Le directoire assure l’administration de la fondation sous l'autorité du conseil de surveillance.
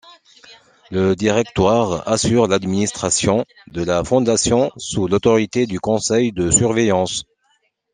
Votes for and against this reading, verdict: 2, 0, accepted